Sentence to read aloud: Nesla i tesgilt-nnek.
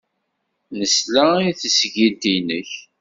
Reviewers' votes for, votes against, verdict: 2, 0, accepted